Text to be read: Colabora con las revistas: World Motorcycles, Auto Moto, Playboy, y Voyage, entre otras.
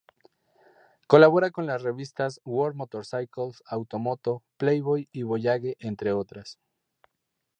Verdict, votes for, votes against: accepted, 2, 0